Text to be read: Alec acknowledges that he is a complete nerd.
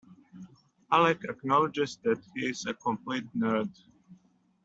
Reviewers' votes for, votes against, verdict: 2, 0, accepted